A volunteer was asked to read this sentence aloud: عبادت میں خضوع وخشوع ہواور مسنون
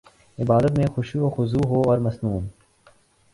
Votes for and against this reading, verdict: 2, 0, accepted